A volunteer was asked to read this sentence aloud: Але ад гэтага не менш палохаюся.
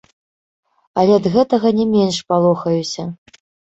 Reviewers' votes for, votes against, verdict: 1, 2, rejected